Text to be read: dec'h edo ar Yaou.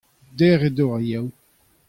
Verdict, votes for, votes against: accepted, 2, 0